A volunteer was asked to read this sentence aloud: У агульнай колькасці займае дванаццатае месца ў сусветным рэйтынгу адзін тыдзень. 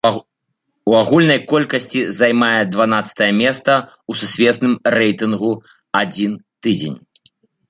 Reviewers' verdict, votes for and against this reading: rejected, 0, 3